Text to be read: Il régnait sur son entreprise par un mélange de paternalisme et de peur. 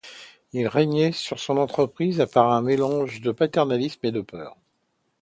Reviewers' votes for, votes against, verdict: 2, 0, accepted